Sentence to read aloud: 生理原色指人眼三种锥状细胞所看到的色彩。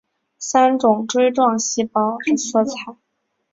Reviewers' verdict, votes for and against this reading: accepted, 2, 0